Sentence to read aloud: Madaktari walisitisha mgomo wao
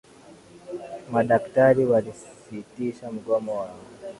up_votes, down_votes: 2, 0